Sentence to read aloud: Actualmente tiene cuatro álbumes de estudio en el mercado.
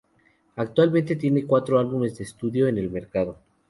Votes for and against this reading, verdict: 2, 0, accepted